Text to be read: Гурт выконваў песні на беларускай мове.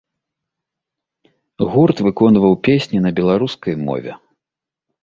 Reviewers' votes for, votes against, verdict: 2, 0, accepted